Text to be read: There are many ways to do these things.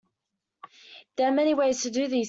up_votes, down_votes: 1, 2